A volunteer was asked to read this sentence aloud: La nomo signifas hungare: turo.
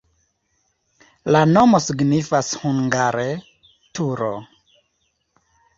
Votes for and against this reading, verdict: 2, 0, accepted